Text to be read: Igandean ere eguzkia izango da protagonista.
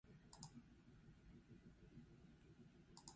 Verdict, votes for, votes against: rejected, 0, 2